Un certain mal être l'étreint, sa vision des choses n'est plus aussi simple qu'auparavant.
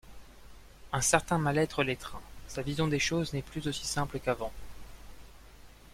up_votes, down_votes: 0, 2